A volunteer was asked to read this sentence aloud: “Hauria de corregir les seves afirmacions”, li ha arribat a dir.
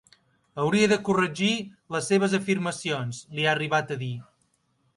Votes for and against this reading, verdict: 4, 0, accepted